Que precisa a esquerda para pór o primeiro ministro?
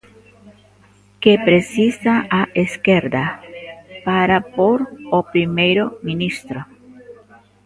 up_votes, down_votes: 2, 0